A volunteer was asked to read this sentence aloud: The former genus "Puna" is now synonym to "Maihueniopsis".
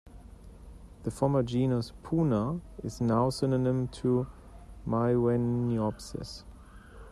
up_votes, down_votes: 2, 0